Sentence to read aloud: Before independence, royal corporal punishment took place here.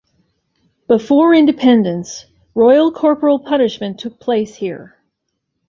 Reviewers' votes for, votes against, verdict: 2, 0, accepted